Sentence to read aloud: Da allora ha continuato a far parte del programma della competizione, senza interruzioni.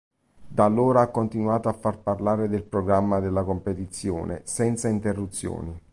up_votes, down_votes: 1, 2